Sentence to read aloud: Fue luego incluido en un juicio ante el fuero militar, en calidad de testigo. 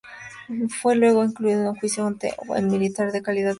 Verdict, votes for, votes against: rejected, 0, 2